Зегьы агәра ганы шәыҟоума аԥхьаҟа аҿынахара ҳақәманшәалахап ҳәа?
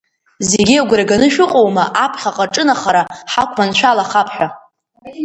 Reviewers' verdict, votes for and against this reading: accepted, 2, 0